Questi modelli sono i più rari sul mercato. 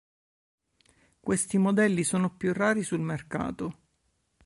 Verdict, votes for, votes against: rejected, 0, 2